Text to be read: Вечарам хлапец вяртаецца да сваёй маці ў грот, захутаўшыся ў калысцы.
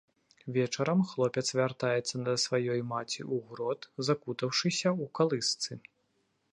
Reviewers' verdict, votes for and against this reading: rejected, 0, 2